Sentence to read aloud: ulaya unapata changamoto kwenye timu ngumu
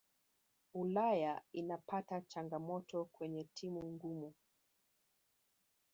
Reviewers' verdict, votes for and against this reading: rejected, 0, 2